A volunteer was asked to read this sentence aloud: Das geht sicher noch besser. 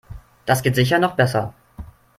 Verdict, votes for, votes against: accepted, 3, 0